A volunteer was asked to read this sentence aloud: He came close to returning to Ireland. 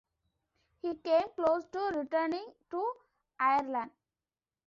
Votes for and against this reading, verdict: 2, 1, accepted